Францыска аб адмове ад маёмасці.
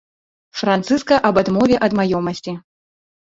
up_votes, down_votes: 1, 2